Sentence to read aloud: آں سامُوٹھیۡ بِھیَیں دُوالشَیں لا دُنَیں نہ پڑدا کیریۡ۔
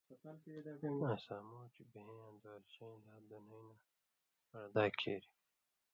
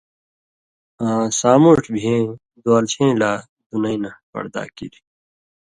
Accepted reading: second